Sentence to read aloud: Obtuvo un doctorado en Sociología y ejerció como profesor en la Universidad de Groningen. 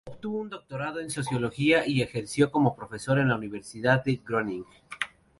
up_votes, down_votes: 0, 4